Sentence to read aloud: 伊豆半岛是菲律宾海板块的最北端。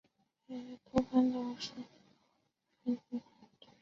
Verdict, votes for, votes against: rejected, 0, 2